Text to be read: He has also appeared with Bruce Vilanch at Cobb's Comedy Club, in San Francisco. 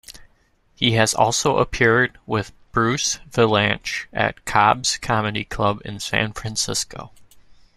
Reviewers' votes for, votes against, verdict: 2, 0, accepted